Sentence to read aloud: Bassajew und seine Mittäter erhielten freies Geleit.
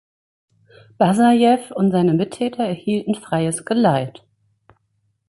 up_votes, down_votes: 2, 1